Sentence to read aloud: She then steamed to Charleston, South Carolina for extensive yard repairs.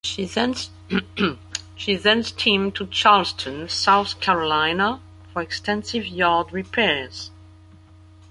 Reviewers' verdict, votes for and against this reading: rejected, 1, 2